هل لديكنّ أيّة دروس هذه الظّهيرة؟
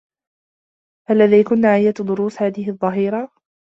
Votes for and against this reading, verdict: 3, 0, accepted